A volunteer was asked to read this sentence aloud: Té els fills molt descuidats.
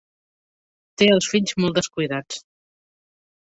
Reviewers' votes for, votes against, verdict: 3, 0, accepted